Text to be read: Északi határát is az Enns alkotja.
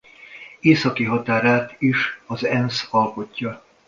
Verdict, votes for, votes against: accepted, 2, 0